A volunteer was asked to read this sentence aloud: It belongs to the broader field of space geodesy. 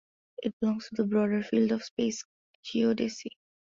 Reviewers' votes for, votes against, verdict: 2, 0, accepted